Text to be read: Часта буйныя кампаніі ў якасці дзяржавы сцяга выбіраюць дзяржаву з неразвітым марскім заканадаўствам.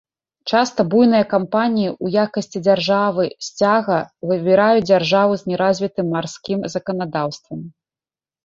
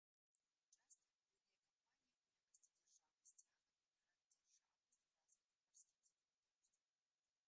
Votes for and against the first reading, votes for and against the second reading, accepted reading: 2, 0, 0, 2, first